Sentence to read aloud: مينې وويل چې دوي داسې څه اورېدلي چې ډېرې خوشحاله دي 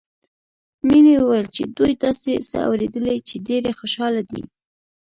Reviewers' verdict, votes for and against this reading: rejected, 1, 2